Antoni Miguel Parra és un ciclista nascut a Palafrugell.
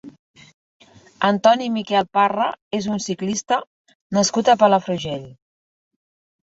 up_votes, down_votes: 2, 0